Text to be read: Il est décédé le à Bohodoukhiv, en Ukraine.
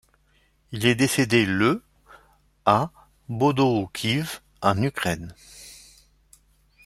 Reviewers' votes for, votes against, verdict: 0, 2, rejected